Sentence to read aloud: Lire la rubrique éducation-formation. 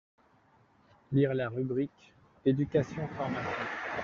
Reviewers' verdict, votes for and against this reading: rejected, 0, 2